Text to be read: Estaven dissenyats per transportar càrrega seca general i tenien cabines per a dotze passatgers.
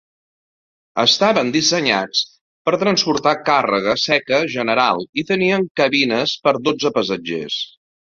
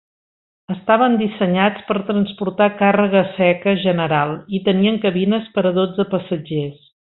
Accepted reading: second